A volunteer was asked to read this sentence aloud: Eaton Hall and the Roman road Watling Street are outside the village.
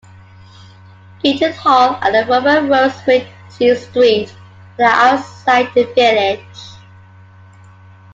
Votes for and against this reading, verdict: 2, 1, accepted